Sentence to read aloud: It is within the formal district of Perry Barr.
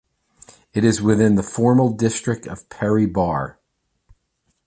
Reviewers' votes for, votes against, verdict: 2, 0, accepted